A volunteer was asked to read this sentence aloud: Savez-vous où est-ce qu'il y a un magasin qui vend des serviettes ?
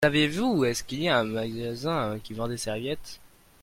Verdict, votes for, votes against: rejected, 0, 2